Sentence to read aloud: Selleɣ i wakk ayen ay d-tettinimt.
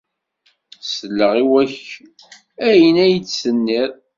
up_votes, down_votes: 1, 2